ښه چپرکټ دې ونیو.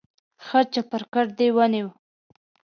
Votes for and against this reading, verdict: 2, 0, accepted